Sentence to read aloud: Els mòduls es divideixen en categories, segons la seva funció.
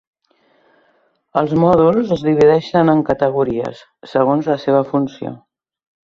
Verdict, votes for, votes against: accepted, 3, 0